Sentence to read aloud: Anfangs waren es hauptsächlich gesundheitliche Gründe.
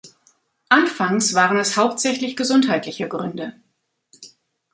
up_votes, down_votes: 2, 0